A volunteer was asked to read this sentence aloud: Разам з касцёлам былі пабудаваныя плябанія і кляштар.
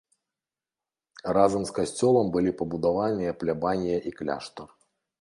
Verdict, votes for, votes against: accepted, 2, 1